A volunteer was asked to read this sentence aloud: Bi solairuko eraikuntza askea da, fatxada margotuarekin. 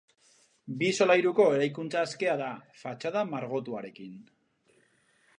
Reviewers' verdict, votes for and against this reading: rejected, 2, 2